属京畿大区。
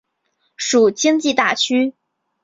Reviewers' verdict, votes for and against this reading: accepted, 2, 0